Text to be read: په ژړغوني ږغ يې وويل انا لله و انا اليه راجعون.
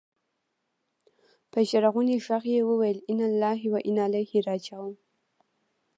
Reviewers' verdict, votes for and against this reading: rejected, 0, 2